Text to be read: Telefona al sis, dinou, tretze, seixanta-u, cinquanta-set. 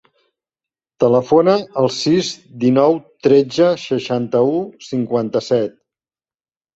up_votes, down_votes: 3, 0